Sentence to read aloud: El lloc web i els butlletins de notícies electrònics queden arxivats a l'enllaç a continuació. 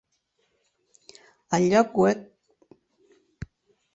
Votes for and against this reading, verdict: 0, 4, rejected